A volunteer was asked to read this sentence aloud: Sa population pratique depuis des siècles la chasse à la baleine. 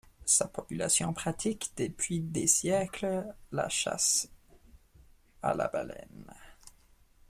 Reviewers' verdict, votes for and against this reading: rejected, 1, 2